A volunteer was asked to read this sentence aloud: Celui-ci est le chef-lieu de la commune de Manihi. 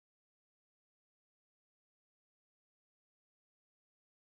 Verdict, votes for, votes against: rejected, 0, 2